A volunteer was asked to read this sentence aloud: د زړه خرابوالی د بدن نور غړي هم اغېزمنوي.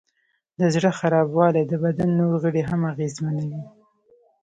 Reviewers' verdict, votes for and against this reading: rejected, 1, 2